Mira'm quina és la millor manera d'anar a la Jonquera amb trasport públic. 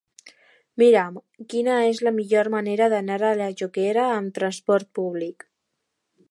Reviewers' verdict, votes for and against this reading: accepted, 2, 0